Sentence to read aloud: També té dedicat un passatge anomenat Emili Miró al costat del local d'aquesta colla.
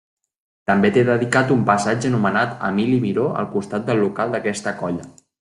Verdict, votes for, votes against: accepted, 2, 0